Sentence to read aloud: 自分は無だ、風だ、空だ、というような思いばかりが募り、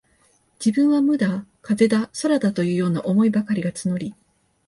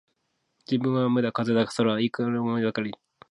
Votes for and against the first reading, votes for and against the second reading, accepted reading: 2, 0, 0, 2, first